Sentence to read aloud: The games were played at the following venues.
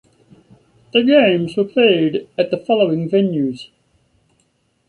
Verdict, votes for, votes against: accepted, 2, 0